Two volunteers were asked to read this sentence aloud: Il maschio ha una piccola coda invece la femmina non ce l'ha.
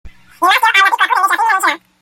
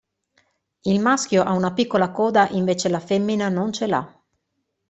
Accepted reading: second